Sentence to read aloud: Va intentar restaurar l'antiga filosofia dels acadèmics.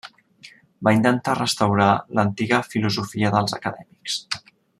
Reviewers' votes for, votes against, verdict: 3, 0, accepted